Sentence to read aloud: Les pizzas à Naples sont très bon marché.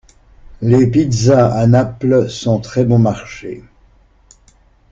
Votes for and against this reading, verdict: 2, 0, accepted